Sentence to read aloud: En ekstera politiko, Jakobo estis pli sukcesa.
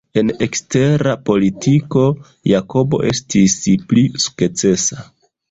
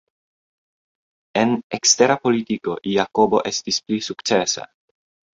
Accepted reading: second